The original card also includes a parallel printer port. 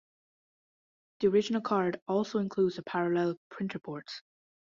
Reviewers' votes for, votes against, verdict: 1, 2, rejected